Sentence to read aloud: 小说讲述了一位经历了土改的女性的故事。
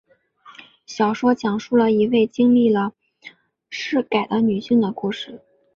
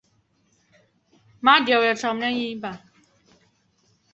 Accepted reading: first